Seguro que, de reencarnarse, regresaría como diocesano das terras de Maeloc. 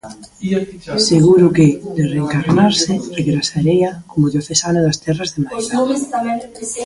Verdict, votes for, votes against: rejected, 0, 2